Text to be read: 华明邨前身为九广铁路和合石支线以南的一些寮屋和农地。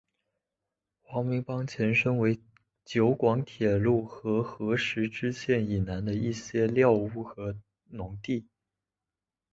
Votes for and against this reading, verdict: 0, 2, rejected